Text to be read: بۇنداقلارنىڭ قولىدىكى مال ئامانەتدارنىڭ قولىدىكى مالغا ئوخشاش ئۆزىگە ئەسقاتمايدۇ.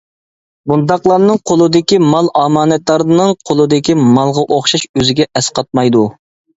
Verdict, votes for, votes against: accepted, 2, 0